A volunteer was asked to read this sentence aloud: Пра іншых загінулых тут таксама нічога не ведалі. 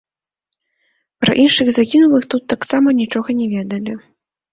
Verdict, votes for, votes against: rejected, 1, 2